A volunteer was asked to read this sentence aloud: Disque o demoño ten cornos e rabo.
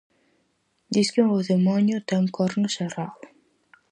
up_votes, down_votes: 4, 0